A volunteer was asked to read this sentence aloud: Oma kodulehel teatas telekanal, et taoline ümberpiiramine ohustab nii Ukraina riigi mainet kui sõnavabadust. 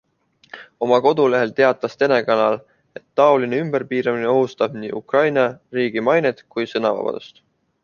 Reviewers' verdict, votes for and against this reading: accepted, 2, 0